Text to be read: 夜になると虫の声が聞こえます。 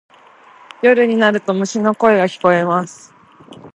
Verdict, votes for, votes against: accepted, 2, 0